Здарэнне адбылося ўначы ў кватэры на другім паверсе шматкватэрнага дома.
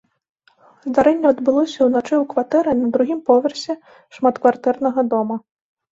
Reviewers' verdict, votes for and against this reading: rejected, 0, 2